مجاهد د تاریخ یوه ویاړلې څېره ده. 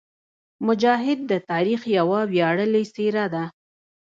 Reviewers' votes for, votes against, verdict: 0, 2, rejected